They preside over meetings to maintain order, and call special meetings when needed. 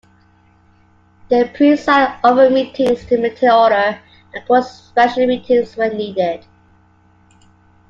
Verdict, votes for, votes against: accepted, 2, 1